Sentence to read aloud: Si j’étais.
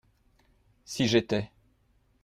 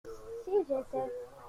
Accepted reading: first